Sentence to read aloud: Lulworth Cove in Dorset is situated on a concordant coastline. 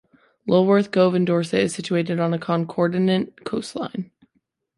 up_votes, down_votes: 2, 1